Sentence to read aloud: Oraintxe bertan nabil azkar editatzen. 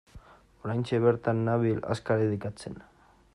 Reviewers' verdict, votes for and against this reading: rejected, 1, 2